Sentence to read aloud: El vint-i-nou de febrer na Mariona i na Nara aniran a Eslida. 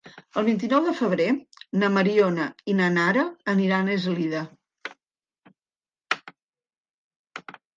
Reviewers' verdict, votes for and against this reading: accepted, 4, 0